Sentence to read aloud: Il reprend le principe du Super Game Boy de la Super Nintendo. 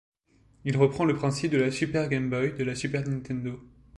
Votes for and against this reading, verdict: 1, 2, rejected